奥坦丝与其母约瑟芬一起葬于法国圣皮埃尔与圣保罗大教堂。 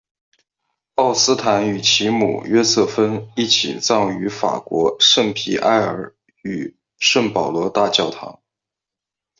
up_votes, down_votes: 5, 2